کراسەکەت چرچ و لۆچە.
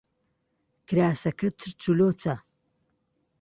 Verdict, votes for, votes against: accepted, 2, 0